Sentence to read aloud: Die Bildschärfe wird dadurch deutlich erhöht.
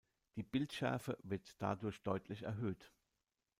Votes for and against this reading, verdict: 2, 0, accepted